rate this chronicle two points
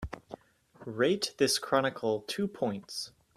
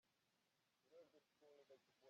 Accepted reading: first